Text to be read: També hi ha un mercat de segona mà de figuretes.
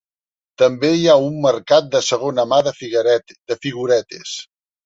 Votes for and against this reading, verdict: 0, 2, rejected